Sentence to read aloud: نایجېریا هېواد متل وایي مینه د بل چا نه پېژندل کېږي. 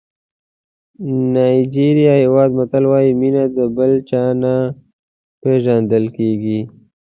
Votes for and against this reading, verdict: 2, 0, accepted